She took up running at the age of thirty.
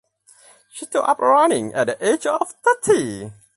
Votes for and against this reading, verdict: 0, 4, rejected